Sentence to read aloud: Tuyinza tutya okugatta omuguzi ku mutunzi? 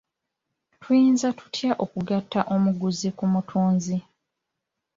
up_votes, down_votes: 2, 1